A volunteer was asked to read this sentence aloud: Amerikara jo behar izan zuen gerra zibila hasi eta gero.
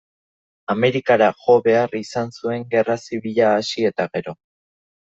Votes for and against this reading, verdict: 2, 0, accepted